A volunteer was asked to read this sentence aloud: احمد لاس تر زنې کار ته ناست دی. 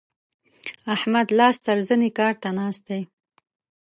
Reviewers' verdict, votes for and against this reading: accepted, 2, 0